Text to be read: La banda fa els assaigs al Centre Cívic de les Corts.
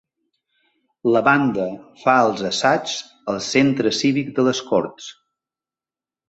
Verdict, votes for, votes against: accepted, 4, 0